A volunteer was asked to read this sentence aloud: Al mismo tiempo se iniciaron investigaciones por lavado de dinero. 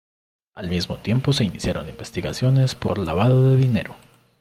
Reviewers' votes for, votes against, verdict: 2, 0, accepted